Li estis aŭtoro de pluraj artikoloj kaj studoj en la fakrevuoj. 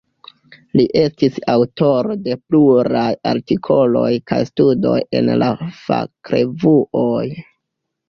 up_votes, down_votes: 0, 2